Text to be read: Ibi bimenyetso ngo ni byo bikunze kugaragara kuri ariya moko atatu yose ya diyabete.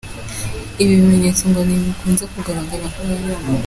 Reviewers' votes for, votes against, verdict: 0, 3, rejected